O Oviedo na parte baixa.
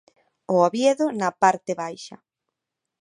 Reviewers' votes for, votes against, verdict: 2, 0, accepted